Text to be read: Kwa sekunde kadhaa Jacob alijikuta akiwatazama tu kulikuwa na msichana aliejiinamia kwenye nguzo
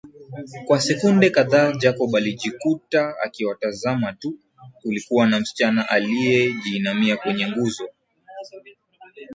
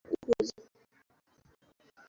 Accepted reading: first